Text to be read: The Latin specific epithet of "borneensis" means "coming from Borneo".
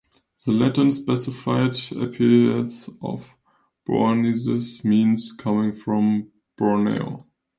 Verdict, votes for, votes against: rejected, 0, 2